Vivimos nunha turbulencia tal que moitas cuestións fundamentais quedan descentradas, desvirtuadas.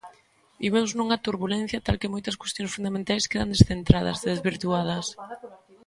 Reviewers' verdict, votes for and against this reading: rejected, 1, 2